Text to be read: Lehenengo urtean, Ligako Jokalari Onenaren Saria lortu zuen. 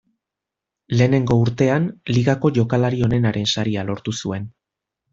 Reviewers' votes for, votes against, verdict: 0, 2, rejected